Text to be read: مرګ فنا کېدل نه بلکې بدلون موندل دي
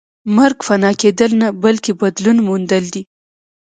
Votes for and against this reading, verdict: 2, 0, accepted